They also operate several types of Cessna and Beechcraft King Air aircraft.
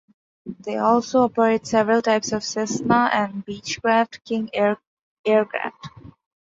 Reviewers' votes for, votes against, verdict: 2, 0, accepted